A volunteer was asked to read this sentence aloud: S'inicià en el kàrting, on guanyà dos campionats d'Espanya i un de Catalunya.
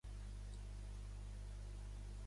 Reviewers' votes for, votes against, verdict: 1, 2, rejected